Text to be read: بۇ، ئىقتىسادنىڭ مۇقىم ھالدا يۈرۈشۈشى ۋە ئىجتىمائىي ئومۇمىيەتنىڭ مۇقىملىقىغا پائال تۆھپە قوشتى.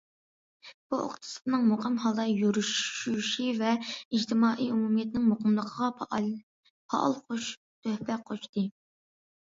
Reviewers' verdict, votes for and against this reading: rejected, 0, 2